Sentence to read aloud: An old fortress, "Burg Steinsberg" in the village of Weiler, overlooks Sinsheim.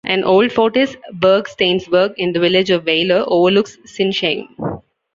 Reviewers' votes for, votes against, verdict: 0, 2, rejected